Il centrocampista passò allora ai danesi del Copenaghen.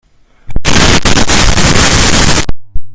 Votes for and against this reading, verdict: 0, 2, rejected